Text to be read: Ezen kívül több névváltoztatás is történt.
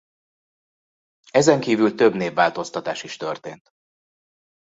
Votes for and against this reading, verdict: 2, 1, accepted